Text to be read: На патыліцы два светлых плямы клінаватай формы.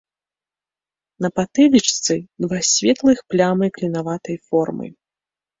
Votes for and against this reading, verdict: 0, 2, rejected